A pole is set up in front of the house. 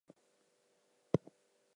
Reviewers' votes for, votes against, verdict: 0, 2, rejected